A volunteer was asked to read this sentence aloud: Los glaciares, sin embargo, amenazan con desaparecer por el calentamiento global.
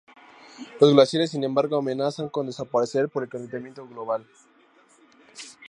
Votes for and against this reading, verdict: 2, 0, accepted